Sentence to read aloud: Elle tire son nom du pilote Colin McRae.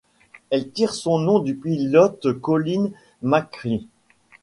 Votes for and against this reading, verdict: 2, 0, accepted